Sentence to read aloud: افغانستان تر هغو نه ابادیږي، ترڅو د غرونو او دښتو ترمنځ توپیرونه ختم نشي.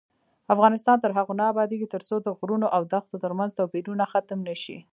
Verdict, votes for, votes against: rejected, 0, 2